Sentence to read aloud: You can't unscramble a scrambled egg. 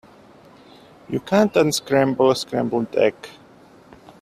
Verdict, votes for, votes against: accepted, 2, 0